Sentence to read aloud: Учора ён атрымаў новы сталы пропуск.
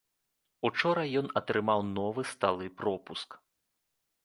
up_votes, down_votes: 1, 2